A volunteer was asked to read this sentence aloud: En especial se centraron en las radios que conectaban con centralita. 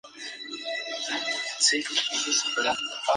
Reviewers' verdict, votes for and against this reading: rejected, 0, 2